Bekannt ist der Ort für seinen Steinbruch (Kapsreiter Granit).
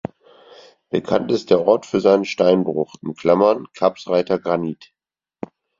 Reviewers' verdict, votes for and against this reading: rejected, 2, 4